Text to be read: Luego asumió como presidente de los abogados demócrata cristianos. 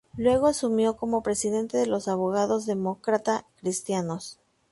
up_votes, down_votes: 2, 0